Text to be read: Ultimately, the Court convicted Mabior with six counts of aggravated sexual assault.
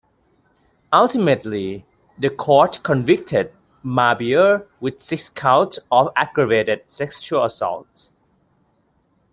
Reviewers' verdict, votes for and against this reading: rejected, 2, 3